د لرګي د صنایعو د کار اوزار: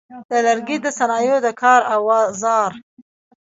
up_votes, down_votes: 1, 2